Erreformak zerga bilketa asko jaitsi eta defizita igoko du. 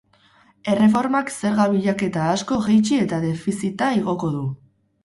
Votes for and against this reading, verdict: 0, 2, rejected